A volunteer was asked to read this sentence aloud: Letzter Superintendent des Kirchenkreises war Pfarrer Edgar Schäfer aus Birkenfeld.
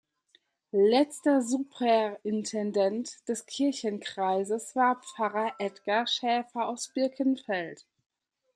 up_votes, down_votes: 2, 1